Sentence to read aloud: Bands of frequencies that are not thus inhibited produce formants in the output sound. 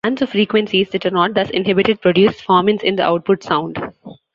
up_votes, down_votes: 0, 2